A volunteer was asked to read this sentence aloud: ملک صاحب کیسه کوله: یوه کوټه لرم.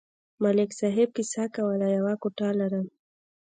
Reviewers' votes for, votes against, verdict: 1, 2, rejected